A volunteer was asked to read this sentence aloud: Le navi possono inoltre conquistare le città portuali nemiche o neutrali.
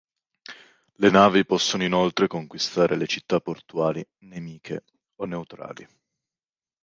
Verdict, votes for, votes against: accepted, 2, 0